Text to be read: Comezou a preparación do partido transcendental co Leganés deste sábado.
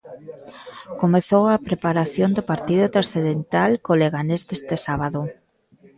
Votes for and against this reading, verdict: 0, 2, rejected